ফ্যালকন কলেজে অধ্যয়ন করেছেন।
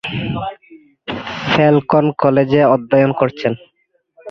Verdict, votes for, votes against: rejected, 4, 9